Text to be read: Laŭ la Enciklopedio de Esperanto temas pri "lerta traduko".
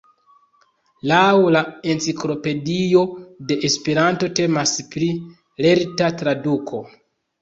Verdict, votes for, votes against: accepted, 2, 0